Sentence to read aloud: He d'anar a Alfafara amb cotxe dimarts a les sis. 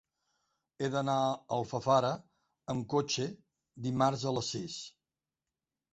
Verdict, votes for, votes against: accepted, 3, 0